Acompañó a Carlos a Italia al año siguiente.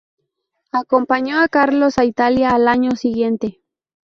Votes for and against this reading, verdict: 0, 2, rejected